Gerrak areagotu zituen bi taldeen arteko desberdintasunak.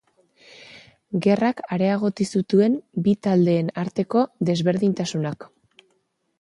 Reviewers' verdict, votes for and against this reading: rejected, 0, 3